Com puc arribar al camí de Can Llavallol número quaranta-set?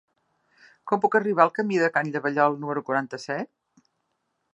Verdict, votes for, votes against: accepted, 2, 0